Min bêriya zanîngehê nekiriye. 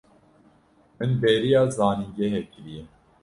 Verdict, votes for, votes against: rejected, 0, 2